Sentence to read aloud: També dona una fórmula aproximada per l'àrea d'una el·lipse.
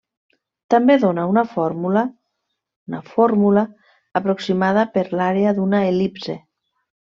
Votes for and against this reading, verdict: 0, 2, rejected